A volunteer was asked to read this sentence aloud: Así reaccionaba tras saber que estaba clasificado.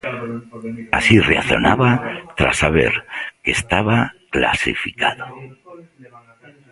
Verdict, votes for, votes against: rejected, 0, 2